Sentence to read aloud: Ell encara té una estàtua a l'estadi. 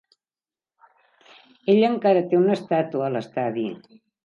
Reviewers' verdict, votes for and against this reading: accepted, 2, 0